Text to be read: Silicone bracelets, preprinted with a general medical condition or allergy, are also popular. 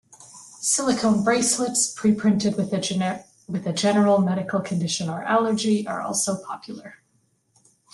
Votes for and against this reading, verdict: 0, 2, rejected